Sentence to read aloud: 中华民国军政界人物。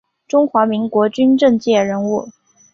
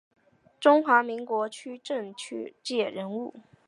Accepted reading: first